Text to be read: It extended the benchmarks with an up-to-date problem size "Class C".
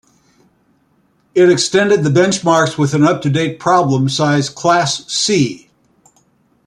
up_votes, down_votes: 3, 0